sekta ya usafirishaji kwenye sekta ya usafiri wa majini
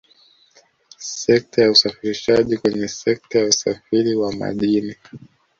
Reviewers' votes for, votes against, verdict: 1, 2, rejected